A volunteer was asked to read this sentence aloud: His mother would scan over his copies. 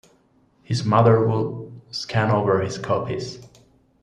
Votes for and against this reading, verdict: 1, 2, rejected